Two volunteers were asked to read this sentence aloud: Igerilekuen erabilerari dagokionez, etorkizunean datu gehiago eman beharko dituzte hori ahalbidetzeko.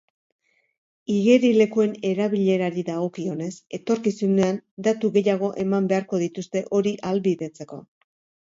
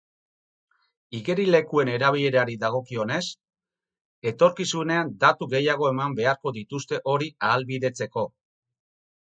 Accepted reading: first